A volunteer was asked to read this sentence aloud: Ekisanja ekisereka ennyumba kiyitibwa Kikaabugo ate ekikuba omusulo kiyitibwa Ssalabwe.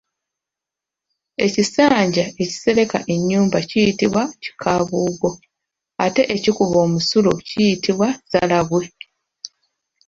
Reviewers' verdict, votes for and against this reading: accepted, 2, 0